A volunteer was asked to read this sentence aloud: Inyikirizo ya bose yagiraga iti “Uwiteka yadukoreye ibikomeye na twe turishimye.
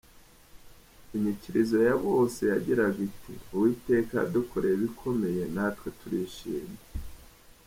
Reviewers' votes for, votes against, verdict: 2, 0, accepted